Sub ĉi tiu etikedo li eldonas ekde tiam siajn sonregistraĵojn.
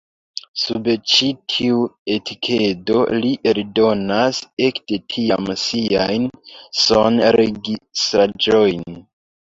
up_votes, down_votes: 1, 2